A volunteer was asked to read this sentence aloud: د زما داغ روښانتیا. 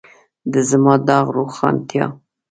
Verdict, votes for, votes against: accepted, 2, 0